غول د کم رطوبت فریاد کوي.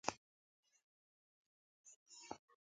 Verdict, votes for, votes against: rejected, 0, 2